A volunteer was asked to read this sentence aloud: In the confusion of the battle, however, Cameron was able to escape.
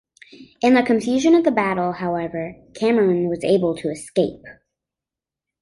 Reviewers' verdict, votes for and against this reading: accepted, 2, 0